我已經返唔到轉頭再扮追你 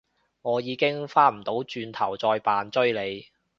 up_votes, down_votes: 2, 0